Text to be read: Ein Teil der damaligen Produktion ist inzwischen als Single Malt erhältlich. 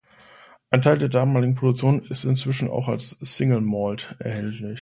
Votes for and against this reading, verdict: 2, 1, accepted